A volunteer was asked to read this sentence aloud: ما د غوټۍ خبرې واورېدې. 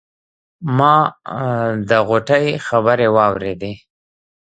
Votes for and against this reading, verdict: 1, 2, rejected